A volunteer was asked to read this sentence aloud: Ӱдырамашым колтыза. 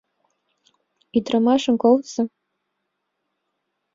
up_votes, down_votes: 2, 0